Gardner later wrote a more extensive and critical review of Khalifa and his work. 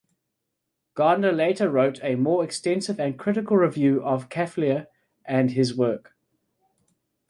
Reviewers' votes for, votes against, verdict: 1, 2, rejected